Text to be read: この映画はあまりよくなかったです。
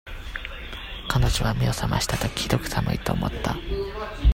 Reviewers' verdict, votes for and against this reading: rejected, 0, 2